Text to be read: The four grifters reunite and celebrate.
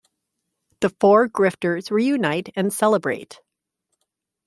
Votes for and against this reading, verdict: 2, 0, accepted